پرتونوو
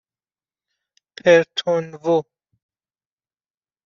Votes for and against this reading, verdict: 2, 0, accepted